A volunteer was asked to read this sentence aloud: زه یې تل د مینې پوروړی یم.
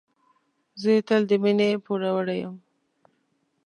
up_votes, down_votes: 2, 1